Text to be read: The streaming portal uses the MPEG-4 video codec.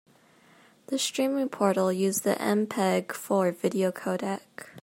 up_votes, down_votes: 0, 2